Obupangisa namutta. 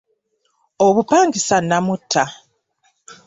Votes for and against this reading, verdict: 2, 0, accepted